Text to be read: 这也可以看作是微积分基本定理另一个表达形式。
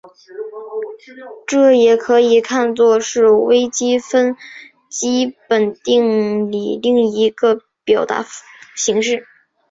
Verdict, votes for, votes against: accepted, 4, 2